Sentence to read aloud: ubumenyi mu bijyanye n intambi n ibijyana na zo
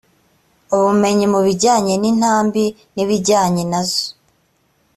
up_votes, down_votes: 2, 0